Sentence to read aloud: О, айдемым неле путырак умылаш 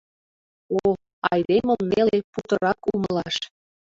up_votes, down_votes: 2, 1